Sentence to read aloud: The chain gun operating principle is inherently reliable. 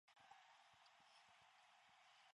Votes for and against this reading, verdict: 0, 2, rejected